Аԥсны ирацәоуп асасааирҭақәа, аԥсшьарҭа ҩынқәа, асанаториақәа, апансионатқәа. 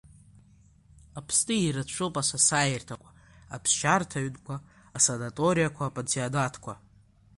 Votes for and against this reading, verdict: 2, 0, accepted